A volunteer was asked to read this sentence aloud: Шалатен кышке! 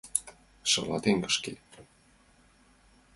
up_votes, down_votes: 2, 0